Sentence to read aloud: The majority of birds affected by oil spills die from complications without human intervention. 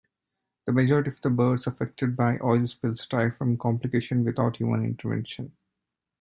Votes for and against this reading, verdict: 2, 1, accepted